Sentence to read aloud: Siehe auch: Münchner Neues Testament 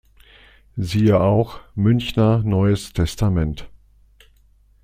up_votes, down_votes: 2, 0